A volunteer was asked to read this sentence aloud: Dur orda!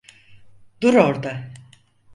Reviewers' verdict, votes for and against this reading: accepted, 4, 0